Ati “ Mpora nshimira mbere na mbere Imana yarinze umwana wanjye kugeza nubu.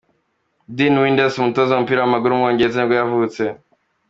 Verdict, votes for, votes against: rejected, 0, 2